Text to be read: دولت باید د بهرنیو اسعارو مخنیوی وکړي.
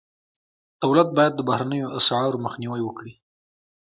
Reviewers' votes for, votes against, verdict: 1, 2, rejected